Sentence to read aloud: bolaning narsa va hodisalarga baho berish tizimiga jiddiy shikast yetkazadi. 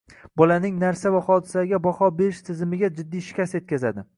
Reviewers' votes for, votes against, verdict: 2, 0, accepted